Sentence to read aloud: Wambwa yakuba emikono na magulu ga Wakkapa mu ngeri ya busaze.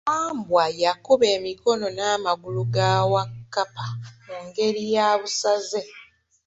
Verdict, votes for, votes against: rejected, 0, 2